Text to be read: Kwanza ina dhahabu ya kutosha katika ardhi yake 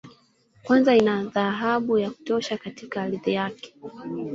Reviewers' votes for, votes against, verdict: 2, 1, accepted